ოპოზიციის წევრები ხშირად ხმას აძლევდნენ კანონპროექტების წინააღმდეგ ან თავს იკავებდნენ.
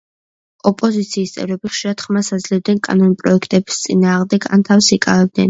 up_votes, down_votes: 2, 0